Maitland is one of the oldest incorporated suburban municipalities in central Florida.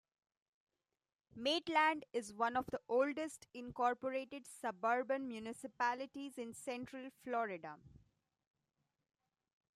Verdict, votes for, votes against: accepted, 2, 0